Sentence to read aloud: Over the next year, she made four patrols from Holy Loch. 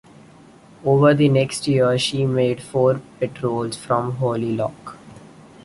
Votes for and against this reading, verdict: 2, 0, accepted